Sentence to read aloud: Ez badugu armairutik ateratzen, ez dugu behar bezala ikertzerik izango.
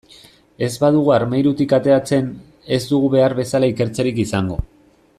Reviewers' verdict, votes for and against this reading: accepted, 2, 0